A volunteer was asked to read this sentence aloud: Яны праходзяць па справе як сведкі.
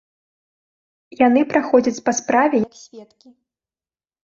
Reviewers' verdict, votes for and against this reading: rejected, 1, 2